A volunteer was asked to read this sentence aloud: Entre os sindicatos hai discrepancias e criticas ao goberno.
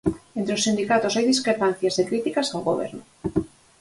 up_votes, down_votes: 0, 4